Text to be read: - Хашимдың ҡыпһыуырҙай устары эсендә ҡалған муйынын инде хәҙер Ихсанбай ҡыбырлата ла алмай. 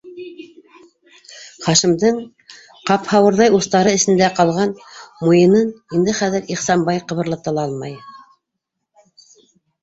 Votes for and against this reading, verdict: 0, 2, rejected